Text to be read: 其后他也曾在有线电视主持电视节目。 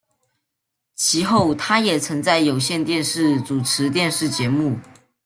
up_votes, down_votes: 2, 0